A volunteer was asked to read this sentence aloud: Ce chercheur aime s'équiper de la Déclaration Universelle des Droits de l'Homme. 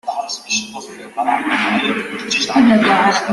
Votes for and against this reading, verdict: 0, 2, rejected